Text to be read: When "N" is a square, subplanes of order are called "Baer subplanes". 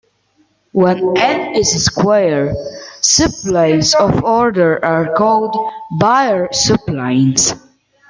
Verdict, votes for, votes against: accepted, 2, 1